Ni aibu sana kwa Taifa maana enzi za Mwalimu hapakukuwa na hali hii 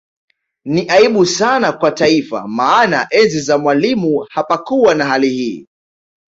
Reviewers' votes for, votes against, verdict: 2, 0, accepted